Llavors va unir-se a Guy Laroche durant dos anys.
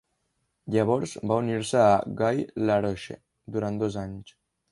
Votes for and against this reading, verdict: 0, 2, rejected